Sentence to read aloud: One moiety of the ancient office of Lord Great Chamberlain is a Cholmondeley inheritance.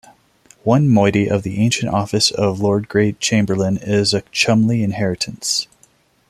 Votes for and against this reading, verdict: 1, 2, rejected